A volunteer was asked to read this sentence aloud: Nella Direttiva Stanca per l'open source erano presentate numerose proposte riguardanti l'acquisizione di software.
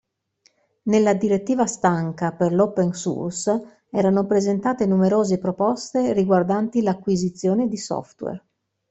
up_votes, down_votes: 2, 0